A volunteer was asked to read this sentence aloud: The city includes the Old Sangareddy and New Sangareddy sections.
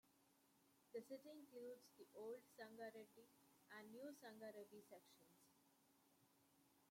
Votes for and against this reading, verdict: 0, 2, rejected